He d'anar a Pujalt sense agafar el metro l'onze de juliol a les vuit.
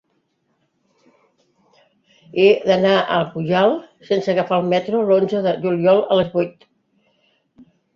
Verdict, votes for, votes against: accepted, 2, 0